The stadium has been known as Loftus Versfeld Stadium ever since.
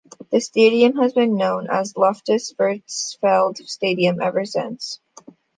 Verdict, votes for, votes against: accepted, 2, 0